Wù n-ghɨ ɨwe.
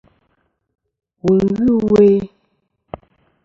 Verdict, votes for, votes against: accepted, 2, 0